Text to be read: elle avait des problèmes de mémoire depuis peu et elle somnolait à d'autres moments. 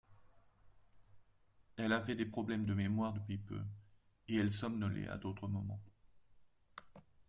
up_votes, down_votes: 2, 1